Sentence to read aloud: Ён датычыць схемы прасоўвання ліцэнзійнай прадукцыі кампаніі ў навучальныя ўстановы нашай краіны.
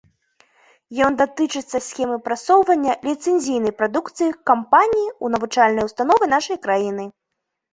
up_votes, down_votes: 2, 0